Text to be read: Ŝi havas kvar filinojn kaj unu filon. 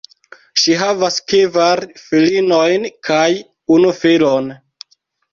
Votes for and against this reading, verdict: 0, 2, rejected